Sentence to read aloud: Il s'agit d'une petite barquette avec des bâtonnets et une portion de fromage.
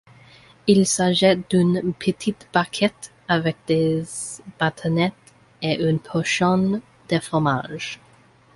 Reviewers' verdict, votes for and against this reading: accepted, 2, 1